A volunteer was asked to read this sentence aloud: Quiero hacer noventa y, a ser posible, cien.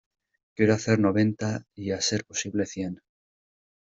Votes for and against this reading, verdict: 2, 0, accepted